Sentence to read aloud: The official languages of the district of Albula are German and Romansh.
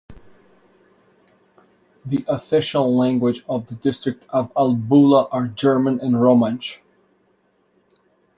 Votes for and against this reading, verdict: 1, 2, rejected